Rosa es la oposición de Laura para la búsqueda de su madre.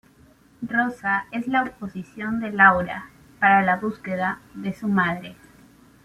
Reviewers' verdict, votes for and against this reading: accepted, 2, 0